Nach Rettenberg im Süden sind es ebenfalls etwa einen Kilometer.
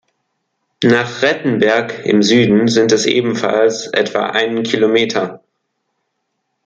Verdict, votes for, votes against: accepted, 2, 0